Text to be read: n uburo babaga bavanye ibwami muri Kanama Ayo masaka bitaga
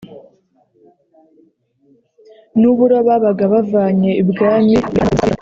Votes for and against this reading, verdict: 1, 2, rejected